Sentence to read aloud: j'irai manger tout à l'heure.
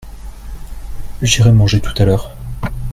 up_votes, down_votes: 2, 0